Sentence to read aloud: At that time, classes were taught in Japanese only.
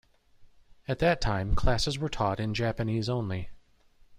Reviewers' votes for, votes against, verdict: 2, 0, accepted